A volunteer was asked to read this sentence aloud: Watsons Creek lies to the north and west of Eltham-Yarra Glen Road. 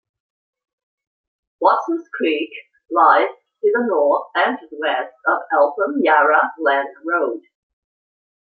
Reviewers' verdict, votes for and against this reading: rejected, 1, 2